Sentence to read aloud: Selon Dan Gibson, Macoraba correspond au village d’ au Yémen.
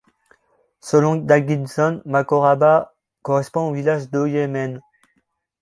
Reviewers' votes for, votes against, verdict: 2, 1, accepted